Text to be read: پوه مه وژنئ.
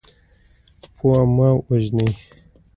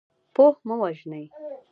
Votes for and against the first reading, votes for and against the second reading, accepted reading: 2, 1, 0, 2, first